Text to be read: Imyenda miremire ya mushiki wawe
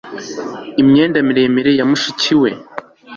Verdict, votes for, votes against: rejected, 1, 2